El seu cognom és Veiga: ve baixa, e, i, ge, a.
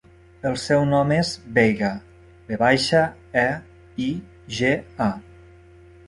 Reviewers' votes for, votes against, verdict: 0, 2, rejected